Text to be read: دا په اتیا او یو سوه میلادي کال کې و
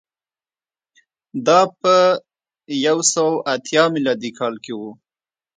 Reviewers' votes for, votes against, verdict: 1, 3, rejected